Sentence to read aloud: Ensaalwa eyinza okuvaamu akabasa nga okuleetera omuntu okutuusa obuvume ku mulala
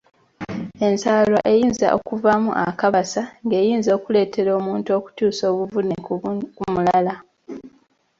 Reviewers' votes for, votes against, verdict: 1, 2, rejected